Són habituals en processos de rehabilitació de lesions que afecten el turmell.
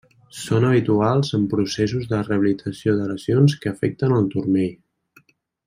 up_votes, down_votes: 2, 1